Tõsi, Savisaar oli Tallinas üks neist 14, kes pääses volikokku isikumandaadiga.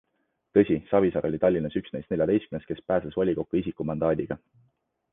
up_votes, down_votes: 0, 2